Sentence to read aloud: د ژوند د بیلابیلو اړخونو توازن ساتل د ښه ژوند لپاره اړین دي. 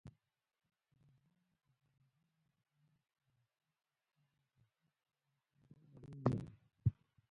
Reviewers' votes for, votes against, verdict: 0, 2, rejected